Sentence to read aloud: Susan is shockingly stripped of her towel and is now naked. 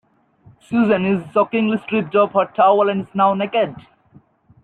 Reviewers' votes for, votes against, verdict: 0, 2, rejected